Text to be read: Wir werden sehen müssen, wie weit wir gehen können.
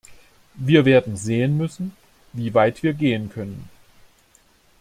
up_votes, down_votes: 2, 0